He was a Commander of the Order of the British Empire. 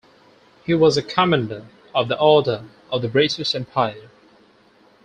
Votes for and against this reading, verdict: 4, 0, accepted